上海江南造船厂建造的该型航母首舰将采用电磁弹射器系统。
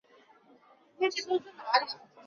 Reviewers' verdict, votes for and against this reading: rejected, 1, 2